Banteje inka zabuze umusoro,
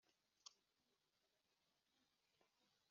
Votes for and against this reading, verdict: 1, 2, rejected